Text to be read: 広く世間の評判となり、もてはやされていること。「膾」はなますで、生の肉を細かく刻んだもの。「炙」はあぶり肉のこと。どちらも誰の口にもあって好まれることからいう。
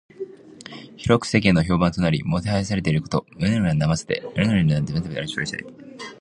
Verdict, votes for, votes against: rejected, 1, 2